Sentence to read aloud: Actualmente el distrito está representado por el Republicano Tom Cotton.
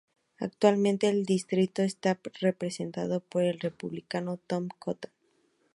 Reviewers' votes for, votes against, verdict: 4, 0, accepted